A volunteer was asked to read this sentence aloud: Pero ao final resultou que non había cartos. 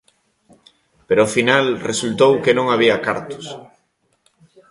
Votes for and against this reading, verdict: 1, 2, rejected